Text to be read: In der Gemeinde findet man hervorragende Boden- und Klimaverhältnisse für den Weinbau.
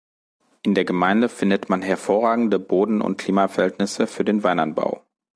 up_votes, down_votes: 0, 2